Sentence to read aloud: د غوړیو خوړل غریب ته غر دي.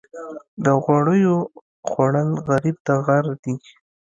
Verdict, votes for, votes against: accepted, 2, 0